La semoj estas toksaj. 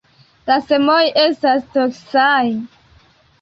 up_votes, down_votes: 2, 0